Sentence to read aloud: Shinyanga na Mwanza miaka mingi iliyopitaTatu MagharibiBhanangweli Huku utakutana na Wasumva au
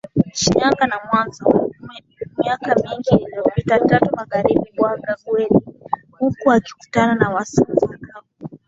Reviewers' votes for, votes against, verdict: 1, 2, rejected